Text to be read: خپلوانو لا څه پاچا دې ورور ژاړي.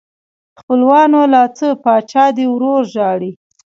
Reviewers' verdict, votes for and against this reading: accepted, 2, 1